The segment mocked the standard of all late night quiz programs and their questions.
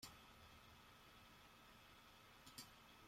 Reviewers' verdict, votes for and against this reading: rejected, 0, 2